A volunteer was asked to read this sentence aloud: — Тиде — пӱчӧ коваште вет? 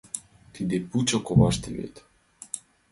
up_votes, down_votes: 0, 2